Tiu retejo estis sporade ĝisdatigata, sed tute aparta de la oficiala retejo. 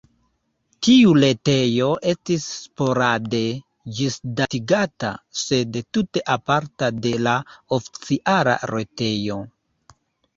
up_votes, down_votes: 0, 2